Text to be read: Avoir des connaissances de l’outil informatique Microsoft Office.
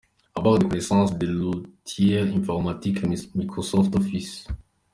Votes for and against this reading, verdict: 2, 0, accepted